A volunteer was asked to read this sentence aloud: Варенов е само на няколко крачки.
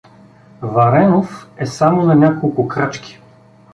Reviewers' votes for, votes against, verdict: 2, 0, accepted